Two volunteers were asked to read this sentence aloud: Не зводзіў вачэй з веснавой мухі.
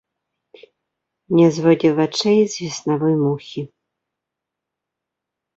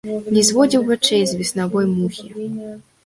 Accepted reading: second